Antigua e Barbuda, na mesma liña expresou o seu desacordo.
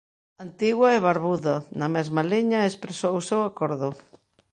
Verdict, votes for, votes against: rejected, 0, 2